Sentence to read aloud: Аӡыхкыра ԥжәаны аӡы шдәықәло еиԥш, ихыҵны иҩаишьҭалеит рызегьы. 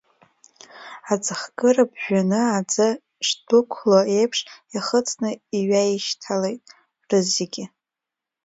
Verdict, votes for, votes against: accepted, 2, 1